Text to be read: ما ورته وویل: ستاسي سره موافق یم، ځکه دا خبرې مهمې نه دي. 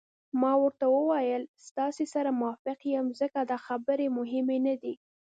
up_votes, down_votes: 0, 2